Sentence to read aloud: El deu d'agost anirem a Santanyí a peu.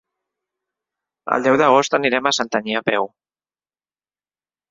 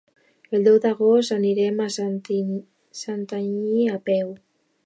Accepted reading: first